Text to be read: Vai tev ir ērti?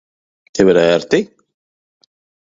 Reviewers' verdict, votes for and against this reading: rejected, 1, 3